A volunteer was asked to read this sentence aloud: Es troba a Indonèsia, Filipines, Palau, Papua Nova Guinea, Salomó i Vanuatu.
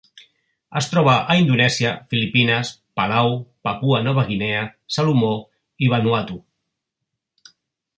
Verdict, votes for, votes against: accepted, 3, 0